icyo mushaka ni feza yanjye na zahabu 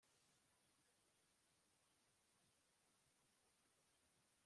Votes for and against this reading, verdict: 1, 2, rejected